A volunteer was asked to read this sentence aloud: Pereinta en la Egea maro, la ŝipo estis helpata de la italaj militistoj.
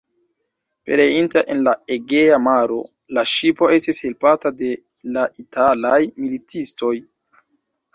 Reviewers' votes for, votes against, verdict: 2, 0, accepted